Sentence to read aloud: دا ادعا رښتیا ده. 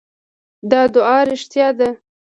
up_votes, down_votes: 2, 1